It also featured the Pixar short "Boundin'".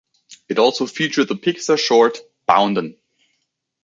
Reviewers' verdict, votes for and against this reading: accepted, 2, 0